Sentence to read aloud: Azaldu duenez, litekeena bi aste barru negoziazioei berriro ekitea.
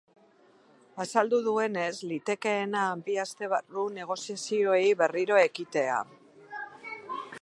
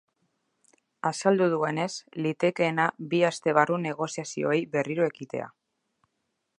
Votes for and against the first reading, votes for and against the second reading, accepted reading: 2, 2, 2, 0, second